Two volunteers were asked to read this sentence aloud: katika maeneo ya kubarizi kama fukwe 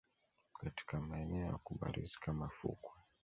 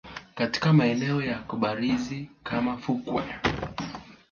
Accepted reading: first